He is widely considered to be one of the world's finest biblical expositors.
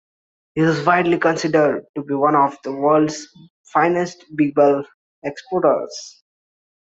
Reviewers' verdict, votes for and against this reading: rejected, 1, 2